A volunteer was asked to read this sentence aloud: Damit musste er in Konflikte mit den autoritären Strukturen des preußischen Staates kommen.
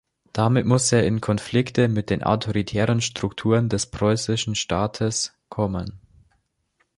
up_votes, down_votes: 2, 0